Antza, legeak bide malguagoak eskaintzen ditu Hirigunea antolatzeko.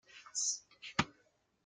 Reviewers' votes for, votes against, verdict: 0, 2, rejected